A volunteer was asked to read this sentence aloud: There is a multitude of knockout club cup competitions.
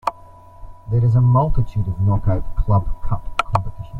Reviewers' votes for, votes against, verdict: 2, 0, accepted